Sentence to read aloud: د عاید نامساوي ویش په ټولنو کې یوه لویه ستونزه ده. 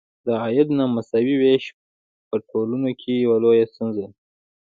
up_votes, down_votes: 1, 2